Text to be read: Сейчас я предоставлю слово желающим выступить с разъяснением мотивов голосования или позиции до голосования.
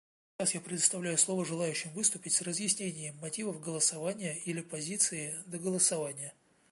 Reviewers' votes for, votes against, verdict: 0, 2, rejected